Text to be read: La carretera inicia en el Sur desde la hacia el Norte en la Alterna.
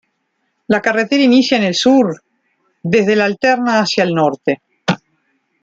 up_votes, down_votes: 0, 2